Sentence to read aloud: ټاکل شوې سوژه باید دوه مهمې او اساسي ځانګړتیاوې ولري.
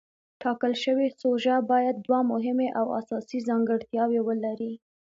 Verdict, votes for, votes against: accepted, 2, 0